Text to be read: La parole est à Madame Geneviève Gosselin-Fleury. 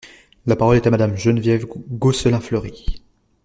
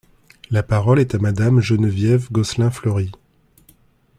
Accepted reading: second